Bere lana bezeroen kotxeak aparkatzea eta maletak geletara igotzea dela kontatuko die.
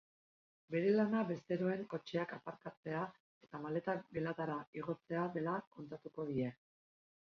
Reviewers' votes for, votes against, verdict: 2, 1, accepted